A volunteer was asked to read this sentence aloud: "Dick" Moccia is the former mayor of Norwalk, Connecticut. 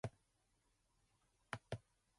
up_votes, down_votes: 0, 2